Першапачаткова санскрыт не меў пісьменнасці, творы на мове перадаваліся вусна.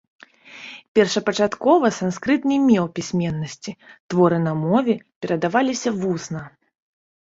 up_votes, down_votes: 0, 2